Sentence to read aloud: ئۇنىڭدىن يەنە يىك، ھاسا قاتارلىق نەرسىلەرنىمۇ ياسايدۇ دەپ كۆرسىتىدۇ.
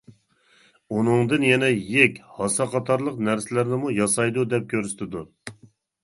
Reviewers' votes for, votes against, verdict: 2, 0, accepted